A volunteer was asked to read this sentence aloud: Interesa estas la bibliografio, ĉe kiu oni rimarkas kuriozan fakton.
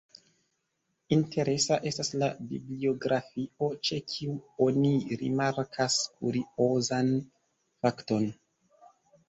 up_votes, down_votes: 2, 1